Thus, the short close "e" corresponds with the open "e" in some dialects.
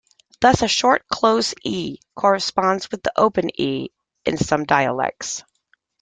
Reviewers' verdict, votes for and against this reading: accepted, 2, 0